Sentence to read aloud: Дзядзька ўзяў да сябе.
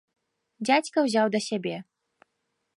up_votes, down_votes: 2, 0